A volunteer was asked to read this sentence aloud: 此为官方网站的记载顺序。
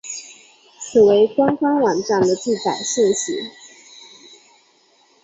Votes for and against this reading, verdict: 4, 0, accepted